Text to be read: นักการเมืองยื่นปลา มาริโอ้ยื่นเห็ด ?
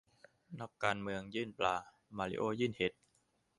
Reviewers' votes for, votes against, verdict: 2, 0, accepted